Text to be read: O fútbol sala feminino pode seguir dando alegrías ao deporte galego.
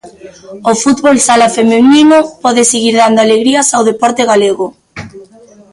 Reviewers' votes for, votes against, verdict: 1, 2, rejected